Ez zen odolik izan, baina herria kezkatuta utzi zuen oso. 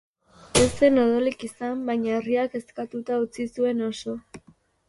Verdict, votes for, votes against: rejected, 0, 2